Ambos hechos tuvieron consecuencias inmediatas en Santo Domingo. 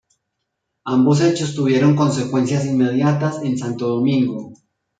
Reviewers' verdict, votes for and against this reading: accepted, 2, 0